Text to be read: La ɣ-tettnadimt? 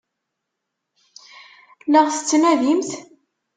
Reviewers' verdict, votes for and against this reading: accepted, 2, 0